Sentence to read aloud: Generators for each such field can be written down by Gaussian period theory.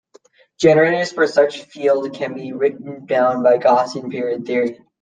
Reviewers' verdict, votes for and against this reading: rejected, 0, 2